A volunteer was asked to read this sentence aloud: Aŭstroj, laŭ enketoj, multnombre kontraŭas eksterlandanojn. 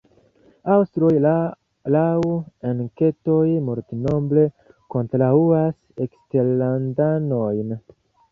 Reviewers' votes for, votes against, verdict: 0, 2, rejected